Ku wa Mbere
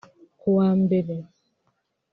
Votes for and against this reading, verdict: 3, 0, accepted